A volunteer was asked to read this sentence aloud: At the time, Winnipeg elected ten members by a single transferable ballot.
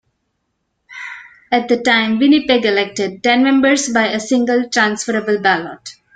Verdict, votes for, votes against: accepted, 2, 1